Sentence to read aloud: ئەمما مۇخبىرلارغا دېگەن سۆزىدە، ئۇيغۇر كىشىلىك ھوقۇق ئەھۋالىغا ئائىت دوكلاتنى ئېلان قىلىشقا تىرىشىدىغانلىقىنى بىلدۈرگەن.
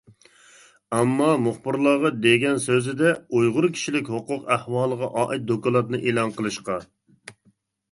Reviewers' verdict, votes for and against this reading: rejected, 0, 2